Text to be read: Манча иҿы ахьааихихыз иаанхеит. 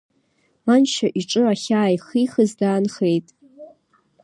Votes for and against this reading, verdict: 0, 2, rejected